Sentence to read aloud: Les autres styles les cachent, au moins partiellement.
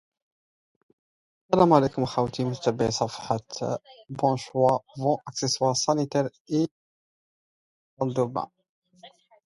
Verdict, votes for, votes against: rejected, 1, 2